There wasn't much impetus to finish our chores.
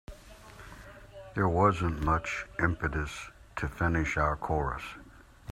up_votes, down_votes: 1, 2